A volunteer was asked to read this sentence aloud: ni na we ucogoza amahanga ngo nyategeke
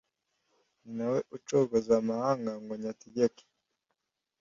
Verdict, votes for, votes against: accepted, 2, 0